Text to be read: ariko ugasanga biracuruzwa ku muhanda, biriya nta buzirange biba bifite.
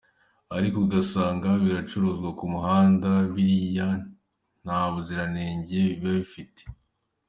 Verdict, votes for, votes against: accepted, 2, 0